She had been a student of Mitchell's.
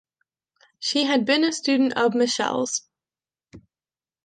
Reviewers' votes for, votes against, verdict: 1, 2, rejected